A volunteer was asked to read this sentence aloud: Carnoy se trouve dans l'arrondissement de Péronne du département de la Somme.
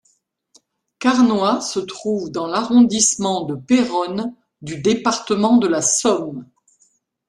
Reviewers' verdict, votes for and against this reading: accepted, 2, 0